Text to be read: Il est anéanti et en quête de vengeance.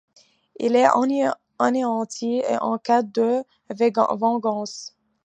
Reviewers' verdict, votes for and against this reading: rejected, 1, 2